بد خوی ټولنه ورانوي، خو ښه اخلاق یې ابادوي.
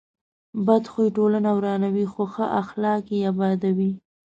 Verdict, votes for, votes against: accepted, 2, 0